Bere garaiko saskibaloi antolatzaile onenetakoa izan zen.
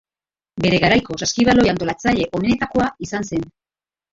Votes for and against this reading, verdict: 0, 2, rejected